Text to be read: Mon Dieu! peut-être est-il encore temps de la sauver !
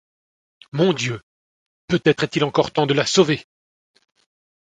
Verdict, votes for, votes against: accepted, 2, 0